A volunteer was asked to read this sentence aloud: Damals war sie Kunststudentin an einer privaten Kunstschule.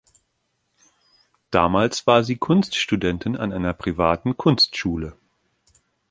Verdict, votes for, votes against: accepted, 2, 0